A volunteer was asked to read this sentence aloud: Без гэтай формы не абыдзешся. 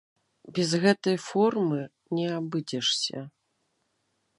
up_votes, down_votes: 1, 3